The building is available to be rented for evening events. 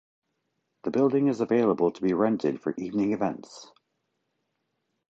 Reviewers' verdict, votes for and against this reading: accepted, 2, 0